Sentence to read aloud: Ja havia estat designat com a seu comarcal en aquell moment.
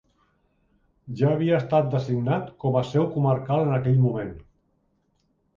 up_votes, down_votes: 2, 0